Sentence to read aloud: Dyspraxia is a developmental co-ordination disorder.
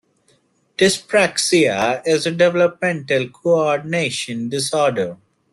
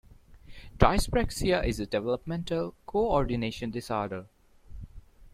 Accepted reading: second